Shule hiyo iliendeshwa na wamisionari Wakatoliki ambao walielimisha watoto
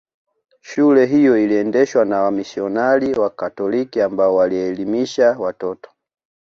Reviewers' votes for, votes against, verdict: 1, 2, rejected